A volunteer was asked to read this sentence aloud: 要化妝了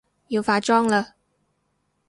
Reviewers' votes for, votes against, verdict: 0, 4, rejected